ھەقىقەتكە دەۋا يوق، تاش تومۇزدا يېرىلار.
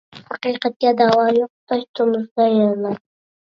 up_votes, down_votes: 0, 2